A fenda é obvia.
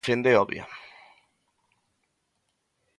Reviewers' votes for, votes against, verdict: 0, 3, rejected